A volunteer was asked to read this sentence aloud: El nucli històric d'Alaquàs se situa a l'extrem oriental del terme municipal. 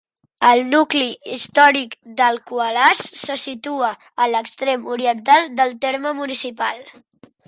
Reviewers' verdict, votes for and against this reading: rejected, 1, 2